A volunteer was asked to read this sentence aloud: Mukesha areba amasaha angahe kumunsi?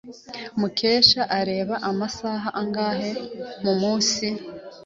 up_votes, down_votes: 3, 0